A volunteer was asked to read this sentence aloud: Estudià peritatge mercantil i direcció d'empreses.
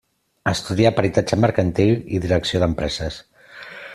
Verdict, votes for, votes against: accepted, 3, 0